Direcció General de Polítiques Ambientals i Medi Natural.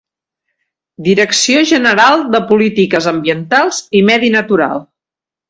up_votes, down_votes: 2, 0